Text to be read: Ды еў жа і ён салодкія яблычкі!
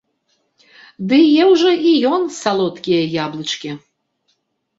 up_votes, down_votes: 2, 0